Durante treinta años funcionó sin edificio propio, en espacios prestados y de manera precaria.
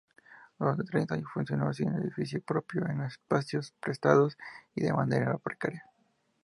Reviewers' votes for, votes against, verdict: 2, 0, accepted